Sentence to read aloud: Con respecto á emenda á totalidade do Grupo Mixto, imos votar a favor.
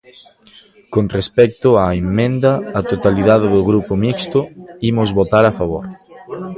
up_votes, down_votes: 2, 0